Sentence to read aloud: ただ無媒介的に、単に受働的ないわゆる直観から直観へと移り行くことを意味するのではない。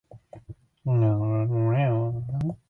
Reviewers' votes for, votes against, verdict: 0, 2, rejected